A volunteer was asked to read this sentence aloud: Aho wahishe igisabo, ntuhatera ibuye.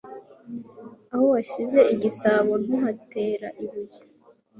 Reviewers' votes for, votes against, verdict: 2, 0, accepted